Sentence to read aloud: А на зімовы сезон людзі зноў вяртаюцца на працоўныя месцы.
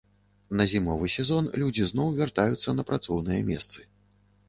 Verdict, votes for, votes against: rejected, 0, 2